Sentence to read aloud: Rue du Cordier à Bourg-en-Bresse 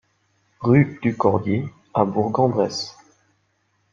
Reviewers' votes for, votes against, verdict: 2, 1, accepted